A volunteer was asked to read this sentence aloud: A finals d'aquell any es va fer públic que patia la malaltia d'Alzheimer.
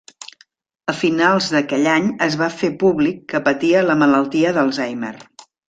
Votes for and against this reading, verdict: 3, 0, accepted